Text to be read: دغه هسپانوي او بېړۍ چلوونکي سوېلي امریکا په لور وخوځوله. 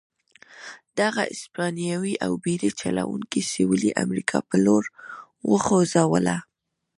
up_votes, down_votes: 0, 2